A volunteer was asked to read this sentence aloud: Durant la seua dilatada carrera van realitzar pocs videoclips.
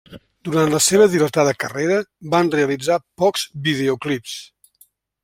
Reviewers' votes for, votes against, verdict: 2, 0, accepted